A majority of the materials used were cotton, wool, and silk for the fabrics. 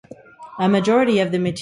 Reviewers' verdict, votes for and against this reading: rejected, 0, 2